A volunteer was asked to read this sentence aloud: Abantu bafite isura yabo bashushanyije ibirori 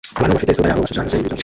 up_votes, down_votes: 0, 2